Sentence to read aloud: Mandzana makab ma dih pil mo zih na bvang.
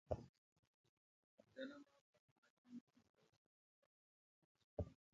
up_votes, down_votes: 0, 2